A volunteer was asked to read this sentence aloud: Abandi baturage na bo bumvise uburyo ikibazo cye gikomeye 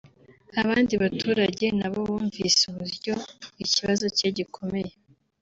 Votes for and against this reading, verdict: 3, 0, accepted